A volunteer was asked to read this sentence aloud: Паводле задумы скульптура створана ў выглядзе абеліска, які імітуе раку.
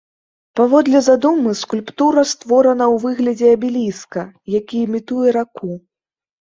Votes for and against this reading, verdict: 2, 0, accepted